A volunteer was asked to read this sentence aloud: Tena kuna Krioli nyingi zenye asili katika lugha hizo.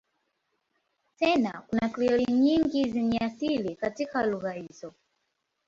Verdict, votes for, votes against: rejected, 4, 4